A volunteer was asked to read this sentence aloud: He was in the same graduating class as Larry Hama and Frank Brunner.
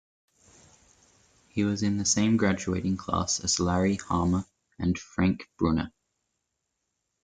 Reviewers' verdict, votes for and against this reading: accepted, 2, 0